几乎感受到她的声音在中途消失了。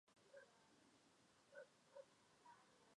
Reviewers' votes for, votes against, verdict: 0, 2, rejected